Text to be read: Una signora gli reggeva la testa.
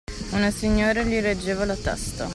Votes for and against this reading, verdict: 2, 0, accepted